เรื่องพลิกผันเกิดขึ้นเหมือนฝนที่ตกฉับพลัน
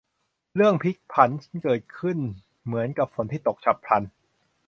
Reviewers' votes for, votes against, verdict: 0, 2, rejected